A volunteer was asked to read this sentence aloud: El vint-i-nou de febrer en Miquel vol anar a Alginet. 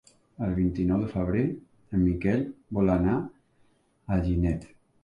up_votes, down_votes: 2, 0